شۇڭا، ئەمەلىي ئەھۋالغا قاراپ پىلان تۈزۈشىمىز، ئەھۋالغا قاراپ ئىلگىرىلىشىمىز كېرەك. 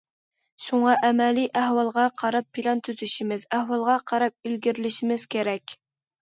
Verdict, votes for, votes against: accepted, 2, 0